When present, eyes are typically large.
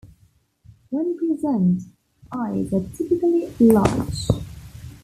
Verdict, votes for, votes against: rejected, 1, 2